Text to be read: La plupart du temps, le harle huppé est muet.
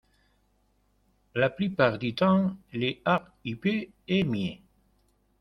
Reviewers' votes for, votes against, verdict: 0, 2, rejected